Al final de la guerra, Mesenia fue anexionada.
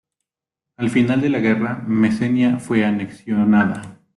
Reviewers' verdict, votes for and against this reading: rejected, 1, 2